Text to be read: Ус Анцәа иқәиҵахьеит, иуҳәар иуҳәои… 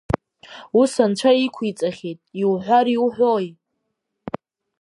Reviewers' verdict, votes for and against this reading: accepted, 2, 0